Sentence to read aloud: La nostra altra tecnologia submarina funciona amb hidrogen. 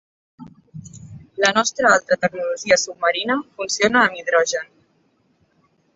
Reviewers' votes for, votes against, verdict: 2, 1, accepted